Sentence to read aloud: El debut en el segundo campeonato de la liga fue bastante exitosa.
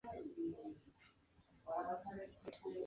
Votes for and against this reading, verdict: 0, 2, rejected